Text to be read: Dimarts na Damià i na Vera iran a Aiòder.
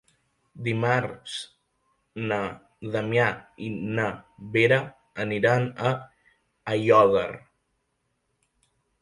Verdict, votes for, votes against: rejected, 0, 2